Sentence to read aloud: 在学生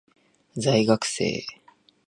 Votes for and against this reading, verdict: 2, 4, rejected